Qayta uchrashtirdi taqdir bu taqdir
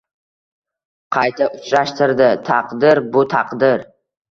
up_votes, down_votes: 2, 0